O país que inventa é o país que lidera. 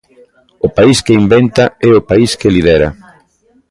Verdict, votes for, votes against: rejected, 0, 2